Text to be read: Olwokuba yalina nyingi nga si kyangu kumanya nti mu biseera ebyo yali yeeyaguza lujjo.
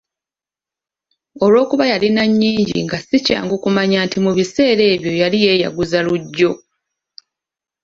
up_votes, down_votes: 2, 0